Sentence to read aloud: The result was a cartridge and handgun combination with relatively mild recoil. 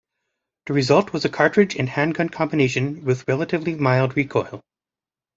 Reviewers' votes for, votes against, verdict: 2, 0, accepted